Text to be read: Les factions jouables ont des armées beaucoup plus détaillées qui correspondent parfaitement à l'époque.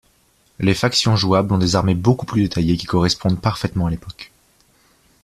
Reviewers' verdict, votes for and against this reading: accepted, 2, 0